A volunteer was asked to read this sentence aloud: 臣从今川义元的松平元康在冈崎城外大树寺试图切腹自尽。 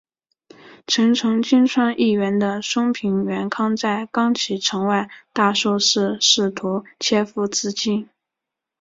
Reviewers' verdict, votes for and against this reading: accepted, 6, 1